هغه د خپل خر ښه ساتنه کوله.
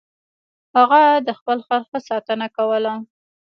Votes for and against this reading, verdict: 1, 2, rejected